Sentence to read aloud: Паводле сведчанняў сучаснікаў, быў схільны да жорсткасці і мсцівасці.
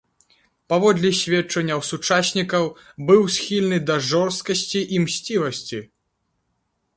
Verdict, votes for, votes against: accepted, 4, 0